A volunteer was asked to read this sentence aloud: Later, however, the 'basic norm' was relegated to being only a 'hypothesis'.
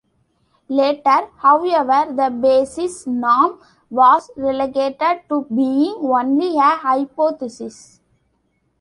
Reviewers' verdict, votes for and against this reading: rejected, 1, 2